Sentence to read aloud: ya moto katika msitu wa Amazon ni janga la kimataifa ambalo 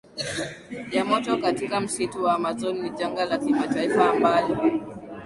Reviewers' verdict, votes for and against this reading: accepted, 13, 3